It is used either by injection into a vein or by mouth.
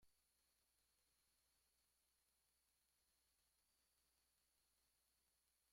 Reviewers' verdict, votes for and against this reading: rejected, 1, 2